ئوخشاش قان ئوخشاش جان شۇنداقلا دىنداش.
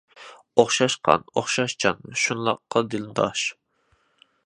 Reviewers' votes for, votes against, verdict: 0, 2, rejected